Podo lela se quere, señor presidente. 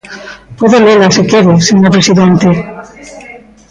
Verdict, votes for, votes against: rejected, 1, 2